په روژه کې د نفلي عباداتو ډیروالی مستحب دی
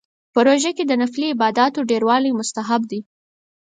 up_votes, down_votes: 4, 0